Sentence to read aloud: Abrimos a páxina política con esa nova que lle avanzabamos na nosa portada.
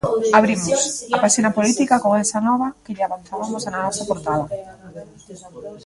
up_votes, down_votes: 0, 3